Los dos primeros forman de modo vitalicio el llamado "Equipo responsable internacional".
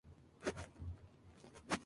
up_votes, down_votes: 0, 2